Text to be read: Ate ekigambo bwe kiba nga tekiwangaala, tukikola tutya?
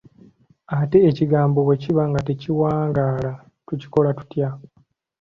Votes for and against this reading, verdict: 2, 0, accepted